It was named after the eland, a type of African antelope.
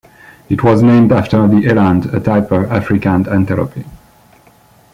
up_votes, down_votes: 1, 2